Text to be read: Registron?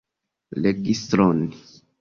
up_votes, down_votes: 2, 0